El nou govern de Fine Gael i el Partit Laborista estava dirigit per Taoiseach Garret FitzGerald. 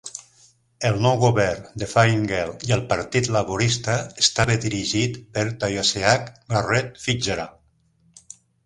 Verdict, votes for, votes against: accepted, 2, 0